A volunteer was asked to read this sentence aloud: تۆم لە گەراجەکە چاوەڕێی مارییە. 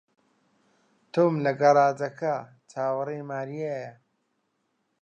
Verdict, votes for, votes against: rejected, 1, 2